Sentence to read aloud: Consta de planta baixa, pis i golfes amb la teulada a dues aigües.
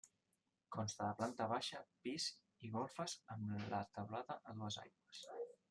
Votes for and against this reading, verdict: 0, 2, rejected